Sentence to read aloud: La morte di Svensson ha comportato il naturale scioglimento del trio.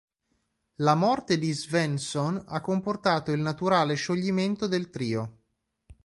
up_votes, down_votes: 2, 0